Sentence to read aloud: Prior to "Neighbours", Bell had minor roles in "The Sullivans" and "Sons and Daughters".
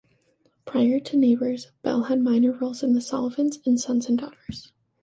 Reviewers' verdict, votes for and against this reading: accepted, 2, 1